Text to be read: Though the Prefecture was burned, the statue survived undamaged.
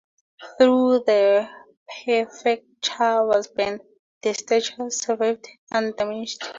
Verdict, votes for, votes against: rejected, 0, 2